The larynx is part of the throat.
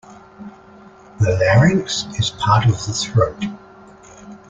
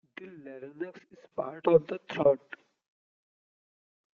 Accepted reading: first